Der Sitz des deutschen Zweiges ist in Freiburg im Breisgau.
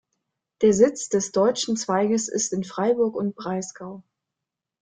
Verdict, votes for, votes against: rejected, 1, 2